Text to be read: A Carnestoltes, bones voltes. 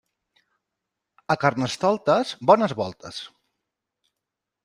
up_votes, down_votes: 2, 0